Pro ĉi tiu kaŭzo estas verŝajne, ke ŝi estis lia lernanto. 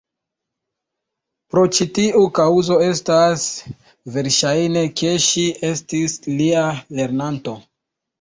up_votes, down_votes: 0, 2